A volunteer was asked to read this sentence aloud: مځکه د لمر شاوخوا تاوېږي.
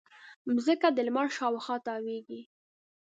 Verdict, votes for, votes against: accepted, 3, 1